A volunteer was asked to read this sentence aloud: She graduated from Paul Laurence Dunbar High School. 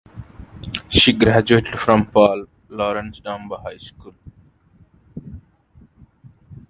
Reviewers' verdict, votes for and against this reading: accepted, 2, 0